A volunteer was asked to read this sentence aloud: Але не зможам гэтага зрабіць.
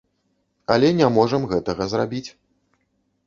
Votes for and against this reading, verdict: 0, 2, rejected